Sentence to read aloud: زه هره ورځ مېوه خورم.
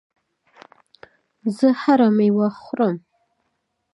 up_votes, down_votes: 3, 0